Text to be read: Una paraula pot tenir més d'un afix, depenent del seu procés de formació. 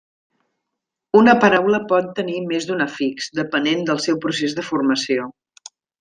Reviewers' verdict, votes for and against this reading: accepted, 3, 0